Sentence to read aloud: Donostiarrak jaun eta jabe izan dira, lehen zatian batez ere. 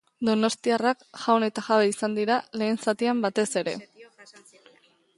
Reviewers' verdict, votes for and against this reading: accepted, 2, 1